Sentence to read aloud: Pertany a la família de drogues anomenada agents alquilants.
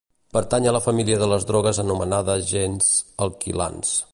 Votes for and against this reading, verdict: 0, 2, rejected